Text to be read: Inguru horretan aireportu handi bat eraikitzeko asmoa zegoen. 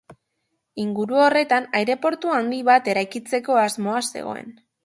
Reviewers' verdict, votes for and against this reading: accepted, 2, 0